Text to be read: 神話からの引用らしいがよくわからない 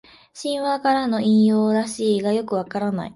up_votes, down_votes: 2, 0